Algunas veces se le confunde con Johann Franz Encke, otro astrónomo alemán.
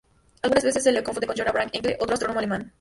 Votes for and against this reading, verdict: 2, 2, rejected